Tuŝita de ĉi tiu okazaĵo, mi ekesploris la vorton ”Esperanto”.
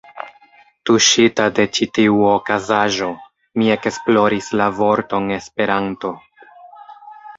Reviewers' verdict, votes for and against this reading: rejected, 1, 2